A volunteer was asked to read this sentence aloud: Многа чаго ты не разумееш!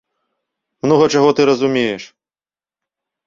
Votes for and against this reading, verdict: 1, 2, rejected